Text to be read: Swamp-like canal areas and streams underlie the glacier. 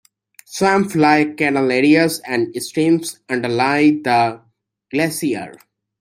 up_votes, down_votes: 1, 2